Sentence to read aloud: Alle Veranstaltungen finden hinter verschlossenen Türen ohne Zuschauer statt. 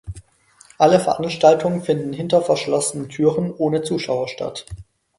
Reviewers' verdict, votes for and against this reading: accepted, 4, 0